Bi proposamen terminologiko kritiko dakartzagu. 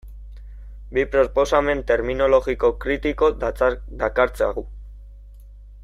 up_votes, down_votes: 0, 2